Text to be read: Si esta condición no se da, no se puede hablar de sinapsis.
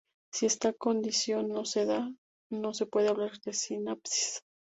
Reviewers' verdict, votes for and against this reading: rejected, 2, 2